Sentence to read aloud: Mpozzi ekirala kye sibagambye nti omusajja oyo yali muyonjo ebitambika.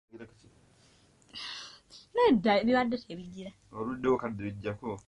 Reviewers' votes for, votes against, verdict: 0, 2, rejected